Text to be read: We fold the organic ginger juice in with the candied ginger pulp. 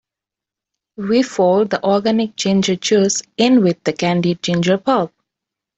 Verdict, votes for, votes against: rejected, 3, 4